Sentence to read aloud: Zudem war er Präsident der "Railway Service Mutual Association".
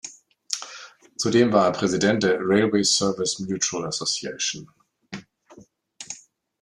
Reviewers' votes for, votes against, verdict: 2, 0, accepted